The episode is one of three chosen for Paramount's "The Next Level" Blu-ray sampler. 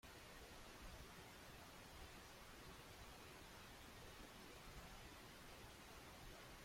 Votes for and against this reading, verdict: 1, 3, rejected